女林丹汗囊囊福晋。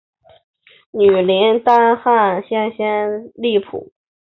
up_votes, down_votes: 0, 2